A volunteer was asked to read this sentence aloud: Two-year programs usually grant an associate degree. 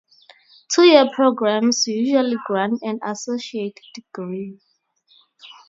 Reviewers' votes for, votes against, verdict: 0, 2, rejected